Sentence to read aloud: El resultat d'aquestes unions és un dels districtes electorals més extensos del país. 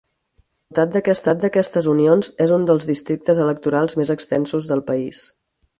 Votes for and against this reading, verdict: 0, 4, rejected